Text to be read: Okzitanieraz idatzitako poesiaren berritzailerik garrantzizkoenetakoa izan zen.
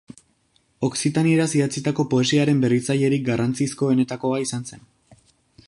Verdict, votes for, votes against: accepted, 2, 0